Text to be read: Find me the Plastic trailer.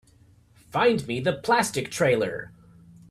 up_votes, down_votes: 2, 0